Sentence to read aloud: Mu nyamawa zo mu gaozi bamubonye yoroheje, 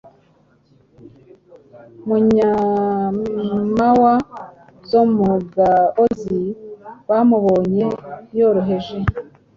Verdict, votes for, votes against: accepted, 2, 0